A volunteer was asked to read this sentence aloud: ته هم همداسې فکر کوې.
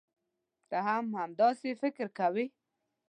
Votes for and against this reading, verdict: 2, 0, accepted